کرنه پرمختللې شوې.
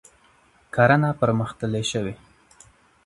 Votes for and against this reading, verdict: 2, 0, accepted